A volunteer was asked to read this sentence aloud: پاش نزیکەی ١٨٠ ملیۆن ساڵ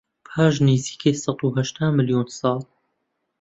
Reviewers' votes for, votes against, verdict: 0, 2, rejected